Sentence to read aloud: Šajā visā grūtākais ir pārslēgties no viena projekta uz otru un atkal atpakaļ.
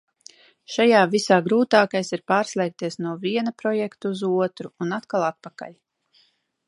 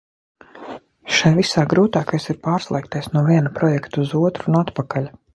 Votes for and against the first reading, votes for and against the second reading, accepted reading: 2, 0, 0, 2, first